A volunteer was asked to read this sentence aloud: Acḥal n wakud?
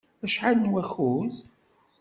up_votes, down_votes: 2, 0